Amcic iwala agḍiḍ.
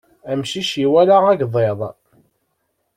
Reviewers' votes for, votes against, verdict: 2, 0, accepted